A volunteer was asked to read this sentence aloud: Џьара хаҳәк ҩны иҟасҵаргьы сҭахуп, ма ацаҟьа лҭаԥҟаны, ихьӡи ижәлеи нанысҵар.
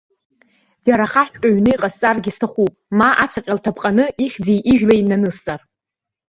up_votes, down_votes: 0, 2